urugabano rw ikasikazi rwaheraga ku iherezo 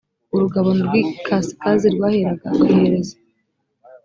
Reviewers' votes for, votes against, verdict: 1, 2, rejected